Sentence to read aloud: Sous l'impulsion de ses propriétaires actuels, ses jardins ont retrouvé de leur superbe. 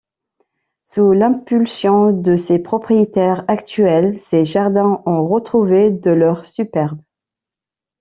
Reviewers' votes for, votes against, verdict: 2, 0, accepted